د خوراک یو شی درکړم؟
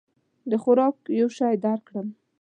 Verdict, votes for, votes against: accepted, 2, 0